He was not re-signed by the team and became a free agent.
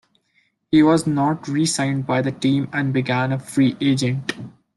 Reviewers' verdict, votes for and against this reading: rejected, 0, 2